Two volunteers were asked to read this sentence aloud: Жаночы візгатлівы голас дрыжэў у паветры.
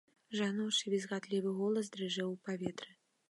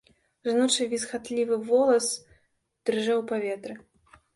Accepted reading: first